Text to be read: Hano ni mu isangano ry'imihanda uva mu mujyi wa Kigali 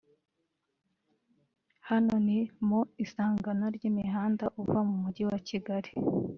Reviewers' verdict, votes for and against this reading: rejected, 1, 2